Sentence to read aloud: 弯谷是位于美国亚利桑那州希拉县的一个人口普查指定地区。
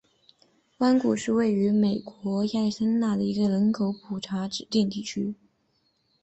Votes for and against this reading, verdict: 2, 1, accepted